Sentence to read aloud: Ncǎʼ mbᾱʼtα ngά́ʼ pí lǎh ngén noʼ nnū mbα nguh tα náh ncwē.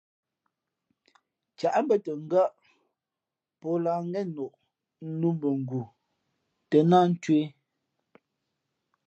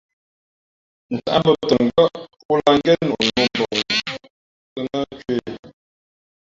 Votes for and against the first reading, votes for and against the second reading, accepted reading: 2, 0, 1, 2, first